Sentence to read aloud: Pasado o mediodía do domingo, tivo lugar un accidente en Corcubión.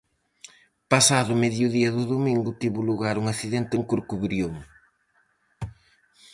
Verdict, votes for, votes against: rejected, 0, 4